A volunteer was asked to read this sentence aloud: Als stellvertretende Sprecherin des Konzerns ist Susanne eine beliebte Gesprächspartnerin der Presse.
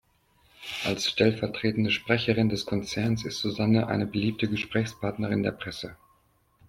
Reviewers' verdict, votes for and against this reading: accepted, 2, 0